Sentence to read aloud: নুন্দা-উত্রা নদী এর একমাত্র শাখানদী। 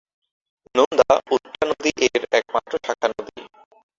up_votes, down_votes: 3, 3